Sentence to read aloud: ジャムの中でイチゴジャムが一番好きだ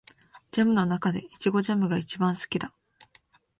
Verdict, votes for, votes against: accepted, 2, 0